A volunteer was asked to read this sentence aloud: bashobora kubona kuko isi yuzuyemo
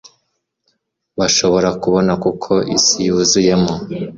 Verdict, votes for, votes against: accepted, 2, 0